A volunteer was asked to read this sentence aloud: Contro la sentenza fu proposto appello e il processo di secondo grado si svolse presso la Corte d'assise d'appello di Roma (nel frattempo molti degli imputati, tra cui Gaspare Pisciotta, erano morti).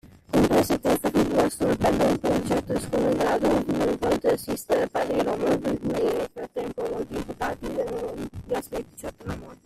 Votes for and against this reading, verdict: 0, 2, rejected